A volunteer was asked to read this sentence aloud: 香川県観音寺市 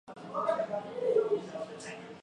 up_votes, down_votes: 1, 5